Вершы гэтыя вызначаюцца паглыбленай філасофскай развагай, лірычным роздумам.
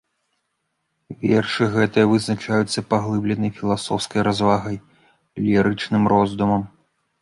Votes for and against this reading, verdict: 2, 0, accepted